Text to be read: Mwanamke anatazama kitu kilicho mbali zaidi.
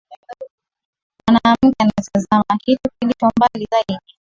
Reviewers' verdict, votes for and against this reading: rejected, 7, 8